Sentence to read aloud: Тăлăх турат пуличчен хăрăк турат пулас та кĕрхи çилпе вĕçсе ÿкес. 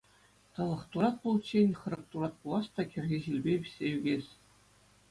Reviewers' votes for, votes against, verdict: 2, 0, accepted